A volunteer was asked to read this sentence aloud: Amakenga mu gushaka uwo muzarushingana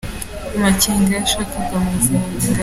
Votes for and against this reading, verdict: 0, 3, rejected